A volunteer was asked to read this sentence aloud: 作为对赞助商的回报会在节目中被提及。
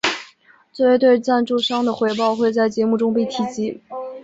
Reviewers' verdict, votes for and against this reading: accepted, 2, 0